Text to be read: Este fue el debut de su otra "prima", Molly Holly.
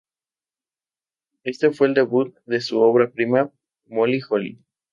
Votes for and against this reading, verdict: 0, 2, rejected